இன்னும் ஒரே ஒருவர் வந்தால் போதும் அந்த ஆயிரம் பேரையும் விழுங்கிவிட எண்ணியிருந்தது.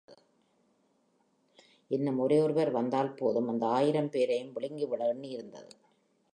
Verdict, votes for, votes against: accepted, 3, 0